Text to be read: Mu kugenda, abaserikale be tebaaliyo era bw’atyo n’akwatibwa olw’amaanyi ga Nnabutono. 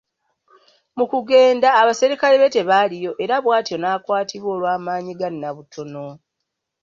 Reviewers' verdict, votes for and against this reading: accepted, 2, 0